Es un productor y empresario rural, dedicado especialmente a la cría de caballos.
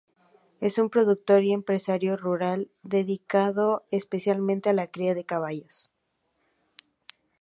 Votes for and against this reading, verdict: 2, 0, accepted